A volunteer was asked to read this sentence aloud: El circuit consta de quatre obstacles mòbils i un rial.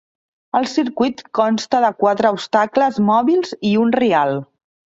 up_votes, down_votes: 2, 0